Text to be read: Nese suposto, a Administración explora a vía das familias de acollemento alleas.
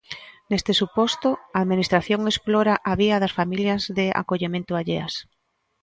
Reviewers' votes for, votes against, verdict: 0, 2, rejected